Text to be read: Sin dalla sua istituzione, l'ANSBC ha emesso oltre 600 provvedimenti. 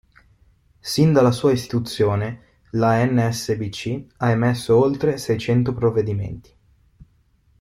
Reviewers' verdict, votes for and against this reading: rejected, 0, 2